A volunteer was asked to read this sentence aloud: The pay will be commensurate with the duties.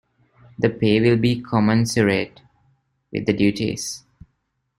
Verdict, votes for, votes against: accepted, 2, 1